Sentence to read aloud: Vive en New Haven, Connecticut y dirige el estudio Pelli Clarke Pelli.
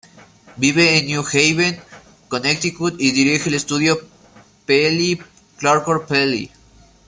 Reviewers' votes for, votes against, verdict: 1, 2, rejected